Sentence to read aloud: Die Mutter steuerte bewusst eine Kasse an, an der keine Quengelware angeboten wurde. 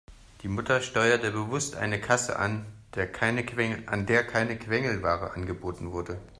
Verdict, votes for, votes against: rejected, 0, 2